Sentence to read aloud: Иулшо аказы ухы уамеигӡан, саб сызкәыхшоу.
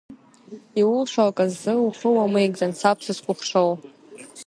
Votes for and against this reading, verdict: 2, 1, accepted